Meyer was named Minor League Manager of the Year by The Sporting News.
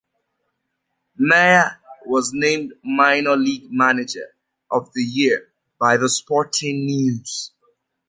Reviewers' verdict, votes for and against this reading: accepted, 2, 0